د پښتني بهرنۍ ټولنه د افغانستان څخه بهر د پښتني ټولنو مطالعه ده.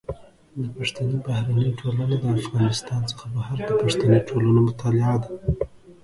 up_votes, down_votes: 2, 1